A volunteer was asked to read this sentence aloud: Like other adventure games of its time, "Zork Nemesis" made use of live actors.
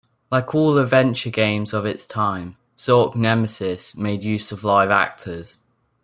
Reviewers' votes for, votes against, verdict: 2, 1, accepted